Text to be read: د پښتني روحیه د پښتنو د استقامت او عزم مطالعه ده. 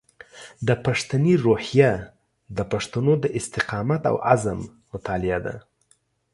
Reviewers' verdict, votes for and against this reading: accepted, 2, 0